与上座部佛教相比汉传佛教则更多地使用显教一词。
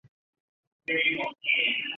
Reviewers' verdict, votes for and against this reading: rejected, 0, 4